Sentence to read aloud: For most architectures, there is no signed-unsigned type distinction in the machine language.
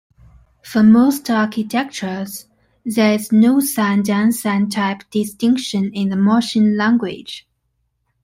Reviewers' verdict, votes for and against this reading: accepted, 2, 0